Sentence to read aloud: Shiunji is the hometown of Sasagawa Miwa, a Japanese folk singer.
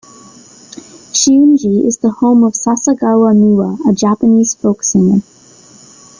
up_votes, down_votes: 0, 2